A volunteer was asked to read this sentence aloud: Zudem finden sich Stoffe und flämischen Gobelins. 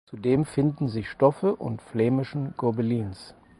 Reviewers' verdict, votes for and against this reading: accepted, 4, 0